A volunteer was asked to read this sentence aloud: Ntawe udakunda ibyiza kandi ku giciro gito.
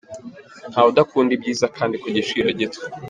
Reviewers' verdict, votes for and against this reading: accepted, 3, 1